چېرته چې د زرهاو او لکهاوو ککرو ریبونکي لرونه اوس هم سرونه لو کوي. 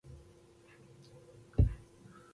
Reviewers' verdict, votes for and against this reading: rejected, 0, 2